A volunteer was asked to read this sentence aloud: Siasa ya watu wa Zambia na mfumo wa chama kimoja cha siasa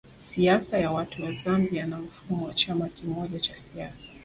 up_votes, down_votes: 3, 1